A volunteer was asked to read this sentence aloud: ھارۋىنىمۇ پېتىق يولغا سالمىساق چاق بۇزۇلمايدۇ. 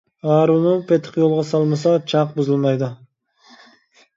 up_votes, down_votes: 1, 2